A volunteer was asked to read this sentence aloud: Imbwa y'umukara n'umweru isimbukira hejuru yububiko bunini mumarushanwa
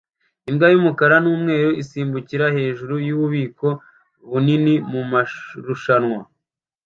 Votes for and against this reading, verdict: 0, 2, rejected